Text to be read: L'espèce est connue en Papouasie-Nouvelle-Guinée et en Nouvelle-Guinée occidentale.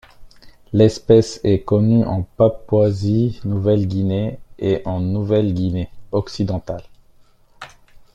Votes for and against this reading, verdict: 2, 0, accepted